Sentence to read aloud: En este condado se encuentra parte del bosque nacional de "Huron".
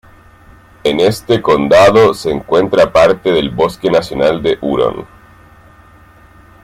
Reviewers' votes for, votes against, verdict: 2, 1, accepted